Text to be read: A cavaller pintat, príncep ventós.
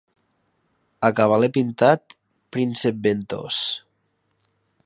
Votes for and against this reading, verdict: 1, 2, rejected